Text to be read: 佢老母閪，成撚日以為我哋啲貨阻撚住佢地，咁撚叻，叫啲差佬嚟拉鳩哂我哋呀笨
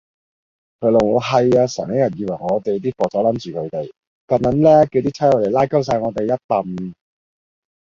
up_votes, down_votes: 0, 2